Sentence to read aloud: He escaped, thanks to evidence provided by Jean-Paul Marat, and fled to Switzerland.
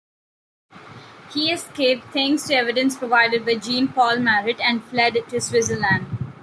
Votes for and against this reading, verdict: 2, 1, accepted